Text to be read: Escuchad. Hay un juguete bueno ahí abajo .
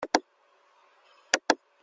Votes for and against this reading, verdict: 0, 2, rejected